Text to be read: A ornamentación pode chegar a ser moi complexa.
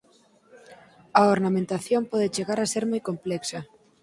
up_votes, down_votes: 2, 4